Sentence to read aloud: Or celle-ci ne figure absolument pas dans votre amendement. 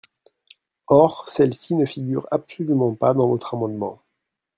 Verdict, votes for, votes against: accepted, 2, 0